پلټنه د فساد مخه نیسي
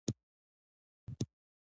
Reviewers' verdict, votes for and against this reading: rejected, 1, 2